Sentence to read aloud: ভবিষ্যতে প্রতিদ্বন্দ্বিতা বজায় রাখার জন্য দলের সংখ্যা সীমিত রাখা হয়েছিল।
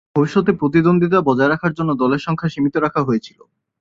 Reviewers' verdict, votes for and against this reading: accepted, 2, 0